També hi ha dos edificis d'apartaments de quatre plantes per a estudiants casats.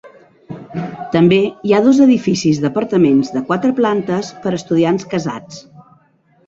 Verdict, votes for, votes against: accepted, 2, 0